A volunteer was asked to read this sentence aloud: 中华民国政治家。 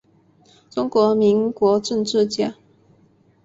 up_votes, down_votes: 2, 1